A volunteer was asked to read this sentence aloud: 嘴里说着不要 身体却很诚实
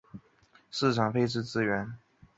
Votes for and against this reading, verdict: 0, 2, rejected